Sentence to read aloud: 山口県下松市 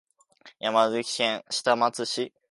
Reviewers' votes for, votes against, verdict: 3, 4, rejected